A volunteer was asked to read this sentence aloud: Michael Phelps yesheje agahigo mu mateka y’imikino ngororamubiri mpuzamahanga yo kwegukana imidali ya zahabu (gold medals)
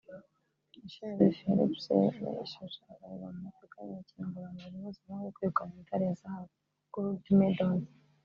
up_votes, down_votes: 0, 3